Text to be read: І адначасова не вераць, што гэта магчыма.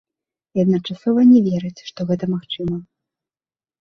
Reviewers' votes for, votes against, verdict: 2, 0, accepted